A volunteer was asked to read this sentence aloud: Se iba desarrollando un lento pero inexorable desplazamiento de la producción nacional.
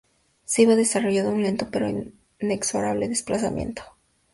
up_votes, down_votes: 2, 0